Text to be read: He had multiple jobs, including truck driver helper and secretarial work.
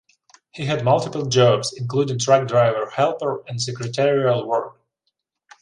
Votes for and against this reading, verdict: 2, 0, accepted